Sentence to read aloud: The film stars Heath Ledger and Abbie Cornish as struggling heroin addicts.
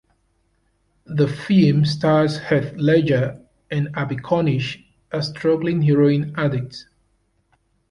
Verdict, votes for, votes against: rejected, 1, 2